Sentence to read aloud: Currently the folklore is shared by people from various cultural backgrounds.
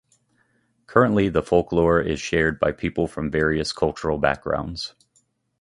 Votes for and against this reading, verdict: 2, 0, accepted